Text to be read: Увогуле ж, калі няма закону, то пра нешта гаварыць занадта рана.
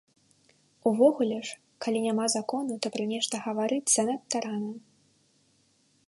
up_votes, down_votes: 2, 0